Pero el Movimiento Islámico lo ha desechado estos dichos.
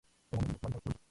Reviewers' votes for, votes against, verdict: 0, 4, rejected